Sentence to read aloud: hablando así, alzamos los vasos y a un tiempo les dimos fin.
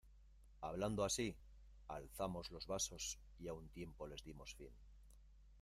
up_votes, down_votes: 2, 1